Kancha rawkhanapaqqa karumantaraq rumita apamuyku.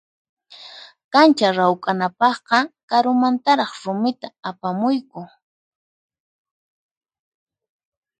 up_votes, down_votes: 0, 4